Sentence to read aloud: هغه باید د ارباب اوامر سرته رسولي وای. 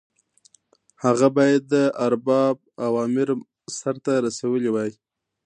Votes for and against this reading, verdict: 2, 0, accepted